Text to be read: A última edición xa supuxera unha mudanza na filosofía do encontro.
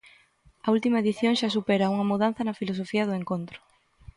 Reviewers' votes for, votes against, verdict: 0, 2, rejected